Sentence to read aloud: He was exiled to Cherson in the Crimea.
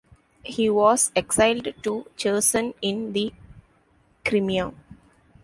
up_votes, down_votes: 1, 2